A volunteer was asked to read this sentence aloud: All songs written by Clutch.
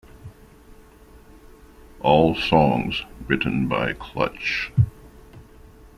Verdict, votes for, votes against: accepted, 2, 0